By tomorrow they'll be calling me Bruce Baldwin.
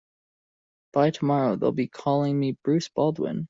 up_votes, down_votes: 2, 0